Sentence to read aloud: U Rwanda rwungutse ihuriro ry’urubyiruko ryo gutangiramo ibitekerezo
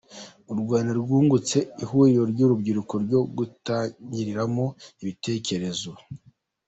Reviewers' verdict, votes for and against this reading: accepted, 2, 0